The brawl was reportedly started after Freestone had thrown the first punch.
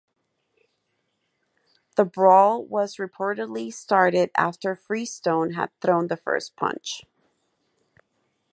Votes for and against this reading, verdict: 4, 0, accepted